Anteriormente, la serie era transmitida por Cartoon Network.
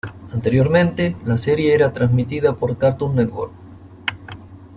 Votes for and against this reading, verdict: 2, 0, accepted